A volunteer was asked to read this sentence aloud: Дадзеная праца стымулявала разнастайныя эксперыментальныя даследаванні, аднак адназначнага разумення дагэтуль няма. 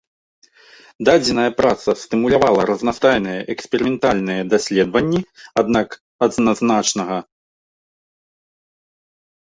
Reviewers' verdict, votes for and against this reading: rejected, 0, 2